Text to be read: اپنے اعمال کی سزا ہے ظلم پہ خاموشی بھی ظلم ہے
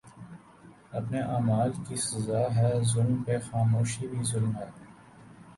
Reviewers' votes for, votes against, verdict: 3, 1, accepted